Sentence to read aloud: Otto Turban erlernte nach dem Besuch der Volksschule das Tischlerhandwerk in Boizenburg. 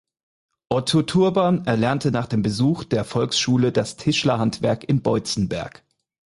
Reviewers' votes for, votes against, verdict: 0, 4, rejected